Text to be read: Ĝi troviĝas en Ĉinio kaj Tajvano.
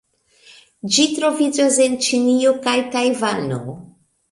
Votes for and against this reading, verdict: 2, 0, accepted